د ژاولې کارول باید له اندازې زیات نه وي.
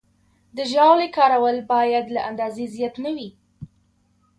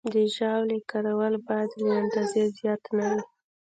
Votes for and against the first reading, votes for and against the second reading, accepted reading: 1, 2, 2, 1, second